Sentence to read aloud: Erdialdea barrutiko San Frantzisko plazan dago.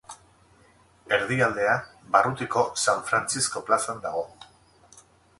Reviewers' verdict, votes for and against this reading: accepted, 4, 0